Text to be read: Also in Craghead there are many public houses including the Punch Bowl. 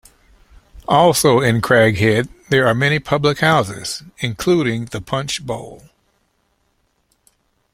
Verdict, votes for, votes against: accepted, 2, 0